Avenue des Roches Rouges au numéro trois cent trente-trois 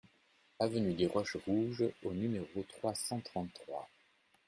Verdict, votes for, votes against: accepted, 2, 0